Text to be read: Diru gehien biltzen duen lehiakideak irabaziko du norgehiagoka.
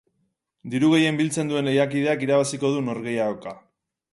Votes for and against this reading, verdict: 4, 0, accepted